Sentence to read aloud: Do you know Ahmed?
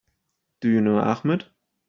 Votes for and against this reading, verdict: 2, 0, accepted